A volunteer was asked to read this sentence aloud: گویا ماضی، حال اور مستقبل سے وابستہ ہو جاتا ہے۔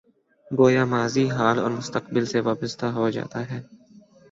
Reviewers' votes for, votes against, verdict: 9, 0, accepted